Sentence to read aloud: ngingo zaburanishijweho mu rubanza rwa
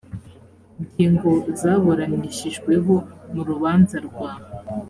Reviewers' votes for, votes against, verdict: 2, 0, accepted